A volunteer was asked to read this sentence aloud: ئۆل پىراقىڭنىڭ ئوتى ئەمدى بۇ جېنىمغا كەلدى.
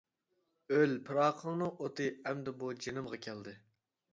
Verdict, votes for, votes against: accepted, 2, 0